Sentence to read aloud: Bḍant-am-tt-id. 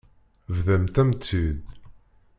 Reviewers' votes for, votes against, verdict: 0, 2, rejected